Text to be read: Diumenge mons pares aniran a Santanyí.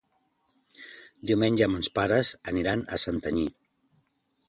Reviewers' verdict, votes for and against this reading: accepted, 2, 0